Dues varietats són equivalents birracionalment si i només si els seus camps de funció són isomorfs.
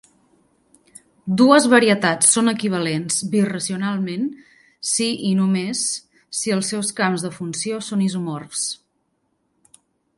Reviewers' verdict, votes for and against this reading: rejected, 0, 2